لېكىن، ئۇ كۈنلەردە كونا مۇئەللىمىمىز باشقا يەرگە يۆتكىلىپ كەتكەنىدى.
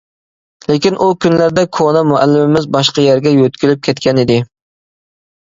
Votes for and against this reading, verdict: 2, 0, accepted